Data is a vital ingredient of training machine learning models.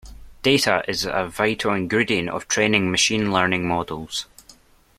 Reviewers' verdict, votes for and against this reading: accepted, 2, 0